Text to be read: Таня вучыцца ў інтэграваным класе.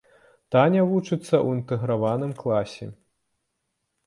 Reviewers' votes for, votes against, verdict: 2, 0, accepted